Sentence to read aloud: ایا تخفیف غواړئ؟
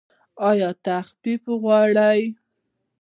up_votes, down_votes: 1, 2